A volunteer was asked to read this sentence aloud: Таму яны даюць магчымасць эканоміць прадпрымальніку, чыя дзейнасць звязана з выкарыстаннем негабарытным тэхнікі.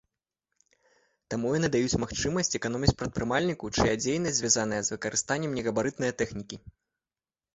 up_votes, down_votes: 1, 2